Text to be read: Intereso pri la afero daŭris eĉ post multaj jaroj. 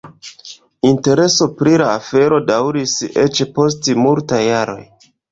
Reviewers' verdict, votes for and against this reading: rejected, 0, 2